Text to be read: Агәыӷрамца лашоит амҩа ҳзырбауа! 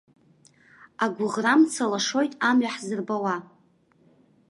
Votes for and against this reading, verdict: 1, 2, rejected